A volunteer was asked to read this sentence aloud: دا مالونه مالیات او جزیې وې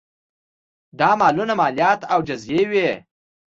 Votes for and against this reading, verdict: 2, 0, accepted